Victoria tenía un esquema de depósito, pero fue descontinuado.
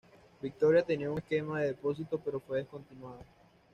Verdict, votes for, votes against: accepted, 2, 1